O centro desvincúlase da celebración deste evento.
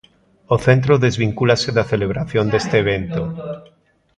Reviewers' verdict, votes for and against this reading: rejected, 0, 2